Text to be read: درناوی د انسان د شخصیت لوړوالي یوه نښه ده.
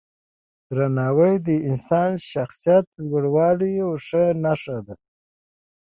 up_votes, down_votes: 2, 1